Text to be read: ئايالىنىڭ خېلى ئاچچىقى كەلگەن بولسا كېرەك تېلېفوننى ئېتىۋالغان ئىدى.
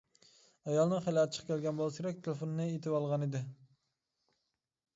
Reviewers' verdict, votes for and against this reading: rejected, 1, 2